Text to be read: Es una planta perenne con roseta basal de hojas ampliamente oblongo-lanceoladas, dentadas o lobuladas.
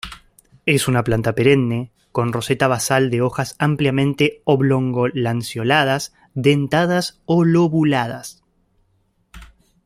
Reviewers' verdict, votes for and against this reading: accepted, 2, 0